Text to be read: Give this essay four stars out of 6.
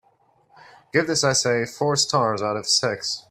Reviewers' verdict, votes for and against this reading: rejected, 0, 2